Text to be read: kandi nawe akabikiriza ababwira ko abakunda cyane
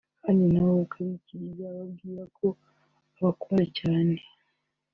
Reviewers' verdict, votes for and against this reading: accepted, 2, 0